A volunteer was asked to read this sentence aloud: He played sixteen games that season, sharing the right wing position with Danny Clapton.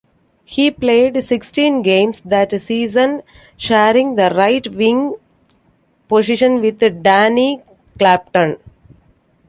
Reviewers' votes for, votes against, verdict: 1, 2, rejected